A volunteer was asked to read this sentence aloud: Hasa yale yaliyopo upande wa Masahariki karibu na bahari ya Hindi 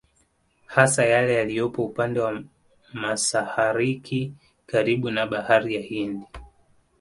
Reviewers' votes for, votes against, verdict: 2, 0, accepted